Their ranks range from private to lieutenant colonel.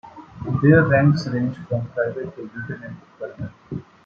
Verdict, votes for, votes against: rejected, 1, 2